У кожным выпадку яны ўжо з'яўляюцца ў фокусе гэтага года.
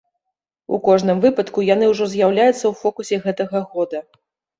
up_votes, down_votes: 2, 0